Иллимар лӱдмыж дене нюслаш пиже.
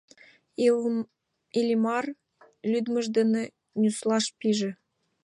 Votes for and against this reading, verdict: 0, 2, rejected